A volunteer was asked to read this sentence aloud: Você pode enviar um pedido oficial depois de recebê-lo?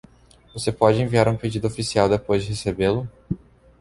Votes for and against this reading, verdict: 2, 1, accepted